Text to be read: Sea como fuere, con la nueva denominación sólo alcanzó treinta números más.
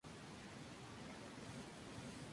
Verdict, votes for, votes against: rejected, 0, 2